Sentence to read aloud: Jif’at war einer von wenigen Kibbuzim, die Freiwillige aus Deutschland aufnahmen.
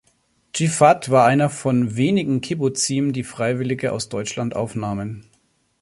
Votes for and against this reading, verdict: 2, 0, accepted